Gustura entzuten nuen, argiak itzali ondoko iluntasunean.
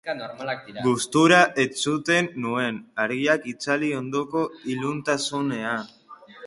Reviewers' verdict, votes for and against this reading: rejected, 0, 2